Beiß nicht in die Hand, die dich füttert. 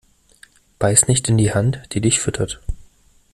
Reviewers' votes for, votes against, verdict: 2, 0, accepted